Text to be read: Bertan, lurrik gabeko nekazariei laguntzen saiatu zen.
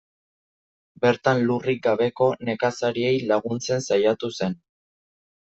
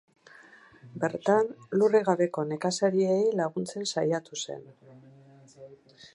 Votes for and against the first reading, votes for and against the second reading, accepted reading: 2, 0, 2, 2, first